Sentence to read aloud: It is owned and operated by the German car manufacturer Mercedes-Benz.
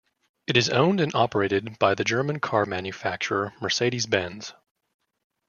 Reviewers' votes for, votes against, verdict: 2, 0, accepted